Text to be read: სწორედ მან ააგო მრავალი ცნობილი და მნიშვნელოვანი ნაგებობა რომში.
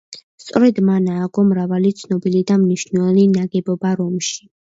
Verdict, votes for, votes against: accepted, 2, 0